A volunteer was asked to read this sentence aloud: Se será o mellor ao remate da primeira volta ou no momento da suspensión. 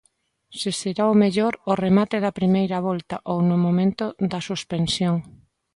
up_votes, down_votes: 2, 0